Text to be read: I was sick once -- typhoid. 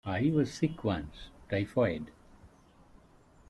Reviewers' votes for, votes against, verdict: 2, 0, accepted